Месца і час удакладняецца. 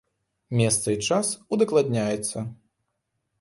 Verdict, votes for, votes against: accepted, 2, 0